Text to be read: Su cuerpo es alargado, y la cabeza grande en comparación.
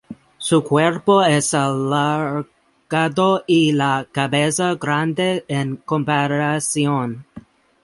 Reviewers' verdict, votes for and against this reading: rejected, 0, 4